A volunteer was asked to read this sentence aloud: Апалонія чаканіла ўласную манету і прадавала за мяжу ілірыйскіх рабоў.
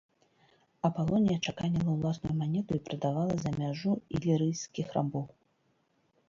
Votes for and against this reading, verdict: 1, 2, rejected